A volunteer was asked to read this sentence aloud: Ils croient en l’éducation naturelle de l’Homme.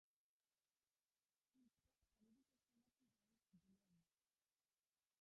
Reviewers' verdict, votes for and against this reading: rejected, 0, 2